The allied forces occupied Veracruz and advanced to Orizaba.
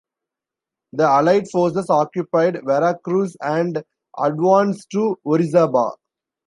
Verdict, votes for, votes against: accepted, 2, 1